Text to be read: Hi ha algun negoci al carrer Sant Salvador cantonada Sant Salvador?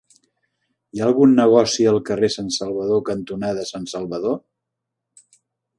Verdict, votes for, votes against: accepted, 3, 0